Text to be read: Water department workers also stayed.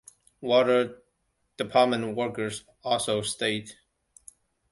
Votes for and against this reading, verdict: 2, 0, accepted